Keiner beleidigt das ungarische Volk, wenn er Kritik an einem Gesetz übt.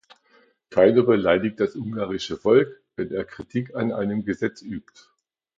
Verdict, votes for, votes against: accepted, 2, 0